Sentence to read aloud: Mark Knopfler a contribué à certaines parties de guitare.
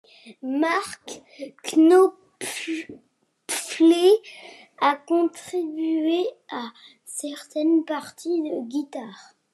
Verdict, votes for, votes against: rejected, 0, 2